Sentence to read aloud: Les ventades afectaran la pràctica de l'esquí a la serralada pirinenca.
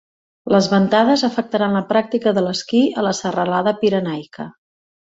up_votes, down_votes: 1, 3